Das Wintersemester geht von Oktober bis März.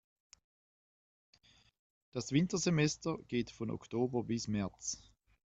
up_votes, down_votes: 2, 0